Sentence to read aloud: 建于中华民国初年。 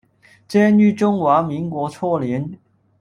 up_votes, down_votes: 1, 2